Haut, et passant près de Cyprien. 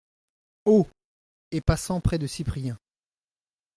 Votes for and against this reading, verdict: 2, 0, accepted